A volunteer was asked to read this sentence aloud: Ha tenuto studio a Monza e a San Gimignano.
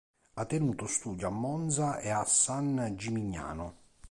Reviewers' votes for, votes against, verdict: 2, 0, accepted